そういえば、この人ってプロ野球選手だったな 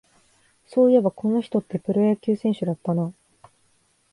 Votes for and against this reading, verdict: 2, 0, accepted